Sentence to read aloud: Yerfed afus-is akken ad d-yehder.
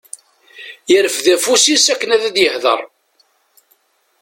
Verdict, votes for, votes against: accepted, 2, 0